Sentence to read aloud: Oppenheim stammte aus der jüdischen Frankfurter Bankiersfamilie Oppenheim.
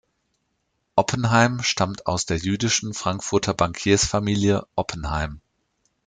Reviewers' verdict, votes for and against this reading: rejected, 1, 2